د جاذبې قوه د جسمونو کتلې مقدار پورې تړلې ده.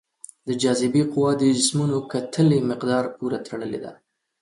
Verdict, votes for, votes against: accepted, 2, 1